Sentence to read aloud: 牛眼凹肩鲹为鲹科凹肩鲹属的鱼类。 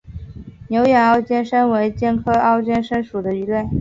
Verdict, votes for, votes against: accepted, 2, 0